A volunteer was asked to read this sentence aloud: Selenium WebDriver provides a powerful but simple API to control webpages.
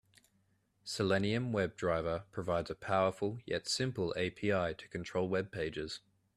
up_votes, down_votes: 1, 2